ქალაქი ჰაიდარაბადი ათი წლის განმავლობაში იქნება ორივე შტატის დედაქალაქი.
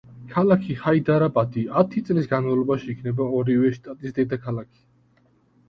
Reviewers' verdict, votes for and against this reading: accepted, 2, 0